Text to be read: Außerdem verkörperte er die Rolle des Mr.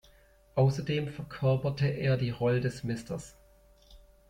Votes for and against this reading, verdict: 0, 2, rejected